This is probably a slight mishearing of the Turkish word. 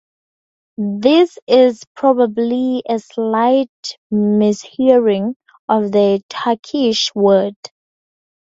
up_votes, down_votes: 4, 0